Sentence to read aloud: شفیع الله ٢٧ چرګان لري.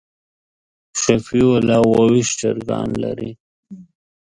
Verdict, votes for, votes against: rejected, 0, 2